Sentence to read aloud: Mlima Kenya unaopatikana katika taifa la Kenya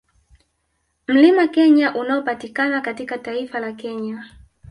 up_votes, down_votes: 0, 2